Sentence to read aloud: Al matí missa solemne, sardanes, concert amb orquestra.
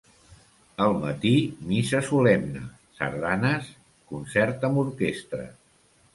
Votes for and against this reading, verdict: 2, 0, accepted